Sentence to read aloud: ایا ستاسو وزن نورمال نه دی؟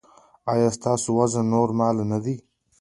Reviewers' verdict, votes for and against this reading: accepted, 2, 0